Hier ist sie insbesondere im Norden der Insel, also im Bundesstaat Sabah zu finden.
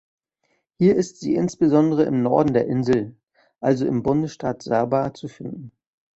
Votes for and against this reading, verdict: 2, 0, accepted